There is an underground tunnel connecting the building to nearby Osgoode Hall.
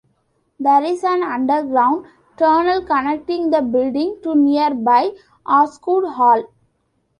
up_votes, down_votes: 2, 0